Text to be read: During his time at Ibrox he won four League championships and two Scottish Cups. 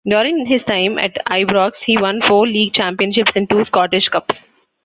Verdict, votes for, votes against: rejected, 0, 2